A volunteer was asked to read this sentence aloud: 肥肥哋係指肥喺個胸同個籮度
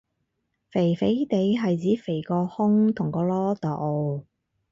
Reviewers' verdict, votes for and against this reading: rejected, 0, 4